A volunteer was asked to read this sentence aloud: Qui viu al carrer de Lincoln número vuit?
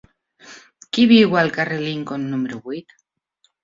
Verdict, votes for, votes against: accepted, 3, 1